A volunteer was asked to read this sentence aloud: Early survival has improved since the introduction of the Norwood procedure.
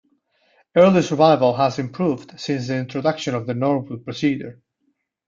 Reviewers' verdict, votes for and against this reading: accepted, 2, 0